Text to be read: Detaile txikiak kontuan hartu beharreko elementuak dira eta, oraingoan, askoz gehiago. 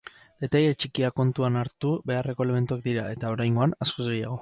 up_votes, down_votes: 4, 0